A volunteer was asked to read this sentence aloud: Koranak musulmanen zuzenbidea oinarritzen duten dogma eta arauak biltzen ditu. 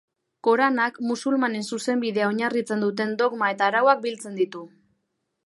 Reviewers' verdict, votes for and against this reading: accepted, 2, 0